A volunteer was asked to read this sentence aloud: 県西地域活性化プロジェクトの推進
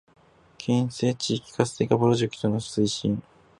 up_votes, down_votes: 2, 0